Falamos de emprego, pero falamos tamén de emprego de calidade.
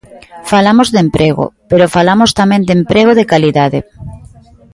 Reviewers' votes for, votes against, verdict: 2, 0, accepted